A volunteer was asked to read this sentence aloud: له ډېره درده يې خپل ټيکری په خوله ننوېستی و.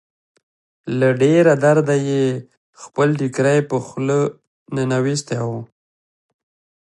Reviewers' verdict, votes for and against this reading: accepted, 2, 0